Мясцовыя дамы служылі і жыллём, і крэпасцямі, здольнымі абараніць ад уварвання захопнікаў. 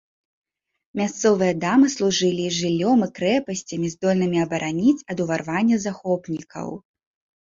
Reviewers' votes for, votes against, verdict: 0, 2, rejected